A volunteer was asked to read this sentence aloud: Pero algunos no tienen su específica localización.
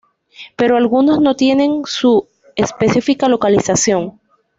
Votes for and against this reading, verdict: 2, 0, accepted